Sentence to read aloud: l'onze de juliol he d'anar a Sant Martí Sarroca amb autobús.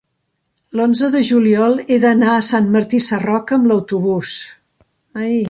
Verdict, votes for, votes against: rejected, 1, 2